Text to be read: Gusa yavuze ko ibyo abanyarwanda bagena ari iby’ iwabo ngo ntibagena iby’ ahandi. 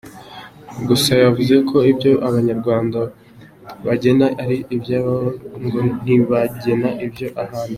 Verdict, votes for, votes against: rejected, 1, 2